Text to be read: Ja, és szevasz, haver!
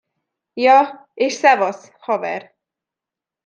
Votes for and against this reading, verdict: 2, 0, accepted